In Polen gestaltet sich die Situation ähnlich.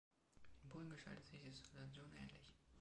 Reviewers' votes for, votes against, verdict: 2, 0, accepted